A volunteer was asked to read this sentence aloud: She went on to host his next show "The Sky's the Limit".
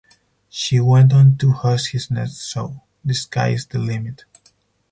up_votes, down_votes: 0, 4